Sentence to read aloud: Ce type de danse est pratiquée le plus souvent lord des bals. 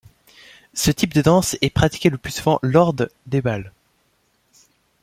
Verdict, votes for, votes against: accepted, 2, 0